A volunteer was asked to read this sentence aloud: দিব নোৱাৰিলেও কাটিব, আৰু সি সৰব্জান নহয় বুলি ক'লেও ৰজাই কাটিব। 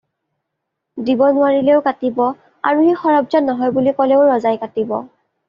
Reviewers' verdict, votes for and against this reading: accepted, 2, 0